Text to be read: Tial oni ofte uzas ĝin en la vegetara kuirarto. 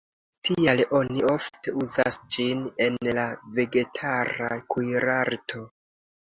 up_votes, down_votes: 2, 0